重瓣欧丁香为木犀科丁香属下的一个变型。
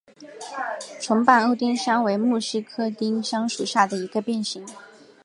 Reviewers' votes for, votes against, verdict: 2, 0, accepted